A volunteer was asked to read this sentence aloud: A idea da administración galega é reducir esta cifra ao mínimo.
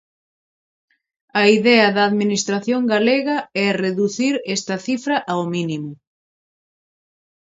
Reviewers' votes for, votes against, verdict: 0, 2, rejected